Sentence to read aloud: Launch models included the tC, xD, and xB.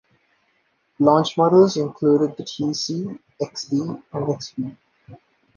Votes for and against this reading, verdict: 2, 0, accepted